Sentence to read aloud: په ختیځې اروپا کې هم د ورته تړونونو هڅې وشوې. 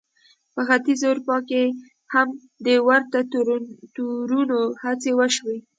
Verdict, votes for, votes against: accepted, 2, 0